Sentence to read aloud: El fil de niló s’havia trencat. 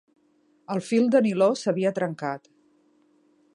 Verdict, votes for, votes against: accepted, 2, 0